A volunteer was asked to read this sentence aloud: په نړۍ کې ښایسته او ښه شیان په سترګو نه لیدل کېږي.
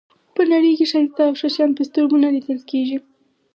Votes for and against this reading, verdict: 4, 2, accepted